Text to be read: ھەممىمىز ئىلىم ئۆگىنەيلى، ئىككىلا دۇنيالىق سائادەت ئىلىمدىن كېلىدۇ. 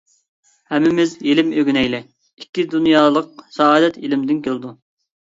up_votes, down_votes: 1, 2